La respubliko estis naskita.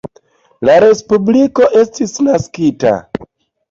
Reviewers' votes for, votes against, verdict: 2, 0, accepted